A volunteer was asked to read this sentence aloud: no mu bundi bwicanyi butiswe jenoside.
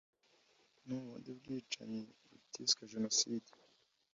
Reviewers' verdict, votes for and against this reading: accepted, 2, 1